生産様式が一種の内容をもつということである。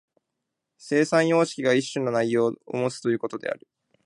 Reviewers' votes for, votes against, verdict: 2, 0, accepted